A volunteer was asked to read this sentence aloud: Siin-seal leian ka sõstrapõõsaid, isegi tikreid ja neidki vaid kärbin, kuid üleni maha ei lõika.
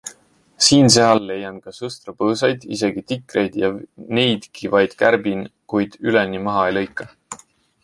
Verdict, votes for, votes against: rejected, 1, 2